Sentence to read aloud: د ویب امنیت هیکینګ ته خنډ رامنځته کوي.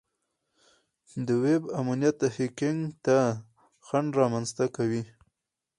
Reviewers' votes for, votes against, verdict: 0, 2, rejected